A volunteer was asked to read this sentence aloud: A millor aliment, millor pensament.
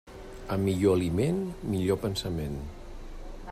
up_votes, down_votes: 3, 0